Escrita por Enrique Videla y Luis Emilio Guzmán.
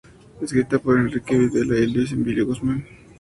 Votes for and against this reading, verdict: 2, 0, accepted